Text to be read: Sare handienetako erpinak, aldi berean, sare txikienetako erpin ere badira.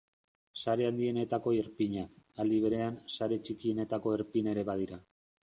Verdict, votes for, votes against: accepted, 3, 0